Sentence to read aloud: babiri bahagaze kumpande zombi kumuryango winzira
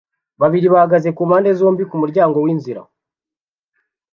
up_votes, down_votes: 2, 0